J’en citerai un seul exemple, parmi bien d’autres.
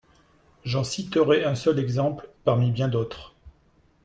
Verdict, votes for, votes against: accepted, 2, 0